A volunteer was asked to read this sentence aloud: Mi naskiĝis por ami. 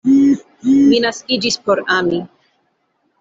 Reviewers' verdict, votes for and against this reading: rejected, 1, 2